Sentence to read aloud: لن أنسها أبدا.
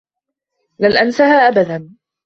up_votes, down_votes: 2, 1